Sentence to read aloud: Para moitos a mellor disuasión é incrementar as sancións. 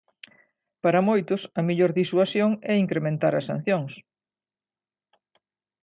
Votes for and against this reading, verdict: 2, 0, accepted